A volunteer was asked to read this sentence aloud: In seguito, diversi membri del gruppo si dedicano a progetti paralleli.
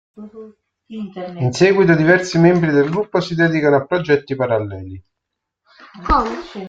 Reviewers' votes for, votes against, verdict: 1, 2, rejected